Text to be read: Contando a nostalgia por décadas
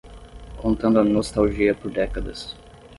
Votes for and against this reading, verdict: 0, 5, rejected